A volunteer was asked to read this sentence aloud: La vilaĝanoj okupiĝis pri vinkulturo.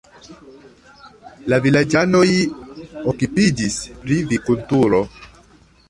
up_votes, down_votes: 0, 2